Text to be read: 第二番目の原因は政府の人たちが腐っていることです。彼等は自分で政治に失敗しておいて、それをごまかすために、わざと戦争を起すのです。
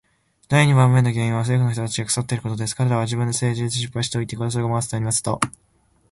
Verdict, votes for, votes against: rejected, 0, 2